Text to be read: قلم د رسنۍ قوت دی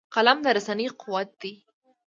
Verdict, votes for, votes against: accepted, 2, 0